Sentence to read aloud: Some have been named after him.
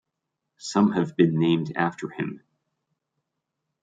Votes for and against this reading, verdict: 2, 0, accepted